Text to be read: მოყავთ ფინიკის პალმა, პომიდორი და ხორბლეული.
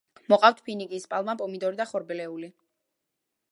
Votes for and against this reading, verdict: 1, 2, rejected